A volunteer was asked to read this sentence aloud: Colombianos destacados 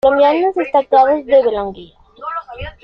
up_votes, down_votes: 0, 2